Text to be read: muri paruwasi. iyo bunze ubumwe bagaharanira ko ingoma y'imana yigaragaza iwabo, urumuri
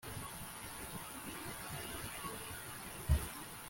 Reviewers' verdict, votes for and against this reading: rejected, 0, 2